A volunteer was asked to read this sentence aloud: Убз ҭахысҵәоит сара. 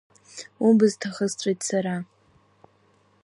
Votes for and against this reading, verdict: 0, 2, rejected